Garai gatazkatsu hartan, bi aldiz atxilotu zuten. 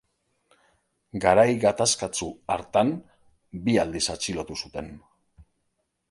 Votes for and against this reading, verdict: 2, 0, accepted